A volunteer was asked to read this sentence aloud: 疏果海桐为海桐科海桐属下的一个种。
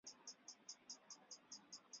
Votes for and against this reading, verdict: 0, 2, rejected